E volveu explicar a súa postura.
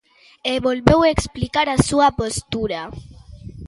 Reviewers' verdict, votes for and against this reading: accepted, 2, 0